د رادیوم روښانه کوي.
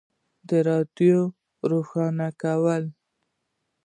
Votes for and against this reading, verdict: 1, 2, rejected